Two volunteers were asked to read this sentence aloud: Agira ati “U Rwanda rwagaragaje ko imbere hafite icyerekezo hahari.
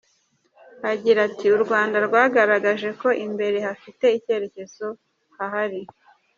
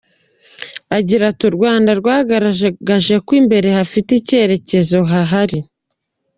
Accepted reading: first